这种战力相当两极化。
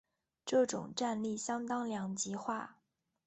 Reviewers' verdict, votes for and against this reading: accepted, 2, 0